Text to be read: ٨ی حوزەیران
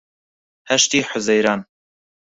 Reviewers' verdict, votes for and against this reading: rejected, 0, 2